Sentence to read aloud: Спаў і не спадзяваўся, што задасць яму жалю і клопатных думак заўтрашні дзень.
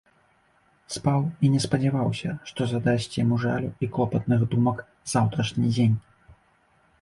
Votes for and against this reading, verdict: 3, 0, accepted